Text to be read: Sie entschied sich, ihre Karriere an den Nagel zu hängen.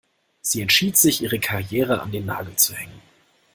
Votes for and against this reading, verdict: 2, 0, accepted